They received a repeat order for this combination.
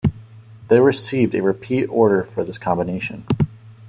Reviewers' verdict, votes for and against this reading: accepted, 2, 0